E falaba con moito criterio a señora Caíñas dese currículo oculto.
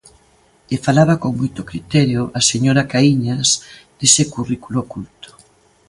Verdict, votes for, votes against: accepted, 2, 0